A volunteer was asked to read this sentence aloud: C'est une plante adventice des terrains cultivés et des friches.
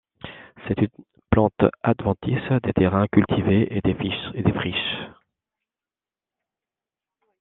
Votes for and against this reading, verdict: 0, 2, rejected